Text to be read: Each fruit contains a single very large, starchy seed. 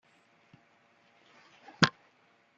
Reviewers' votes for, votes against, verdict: 0, 2, rejected